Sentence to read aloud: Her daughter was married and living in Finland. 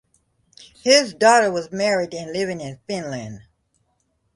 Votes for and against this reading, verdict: 0, 2, rejected